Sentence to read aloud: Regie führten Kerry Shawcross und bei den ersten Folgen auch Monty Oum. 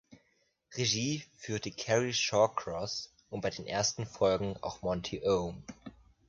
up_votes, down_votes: 0, 2